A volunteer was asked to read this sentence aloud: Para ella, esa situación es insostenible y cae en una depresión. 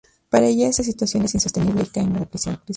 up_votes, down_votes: 0, 2